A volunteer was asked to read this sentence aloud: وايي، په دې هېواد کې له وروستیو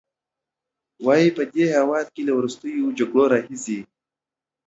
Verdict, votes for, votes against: accepted, 2, 0